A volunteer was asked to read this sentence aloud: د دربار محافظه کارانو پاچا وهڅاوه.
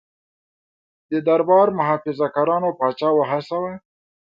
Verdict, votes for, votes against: accepted, 2, 0